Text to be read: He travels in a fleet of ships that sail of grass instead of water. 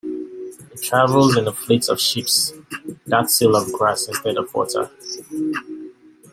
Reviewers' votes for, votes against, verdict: 1, 2, rejected